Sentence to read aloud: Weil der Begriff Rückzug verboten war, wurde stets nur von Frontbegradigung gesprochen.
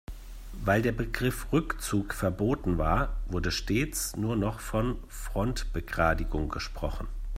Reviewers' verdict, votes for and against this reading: rejected, 0, 2